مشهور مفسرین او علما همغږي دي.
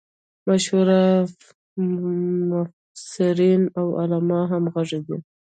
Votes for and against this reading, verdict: 1, 2, rejected